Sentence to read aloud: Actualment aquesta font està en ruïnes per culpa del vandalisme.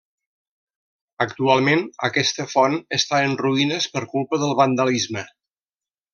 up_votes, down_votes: 3, 0